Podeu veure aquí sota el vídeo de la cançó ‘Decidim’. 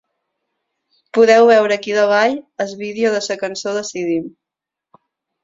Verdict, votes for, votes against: rejected, 0, 6